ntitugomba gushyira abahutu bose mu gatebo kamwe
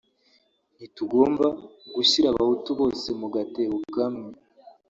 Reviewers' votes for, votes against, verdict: 1, 2, rejected